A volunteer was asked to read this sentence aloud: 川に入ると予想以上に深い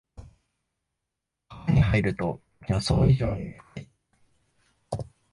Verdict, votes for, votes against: rejected, 1, 2